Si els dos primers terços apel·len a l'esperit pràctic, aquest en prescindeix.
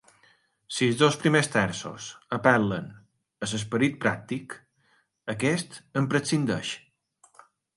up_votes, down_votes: 0, 2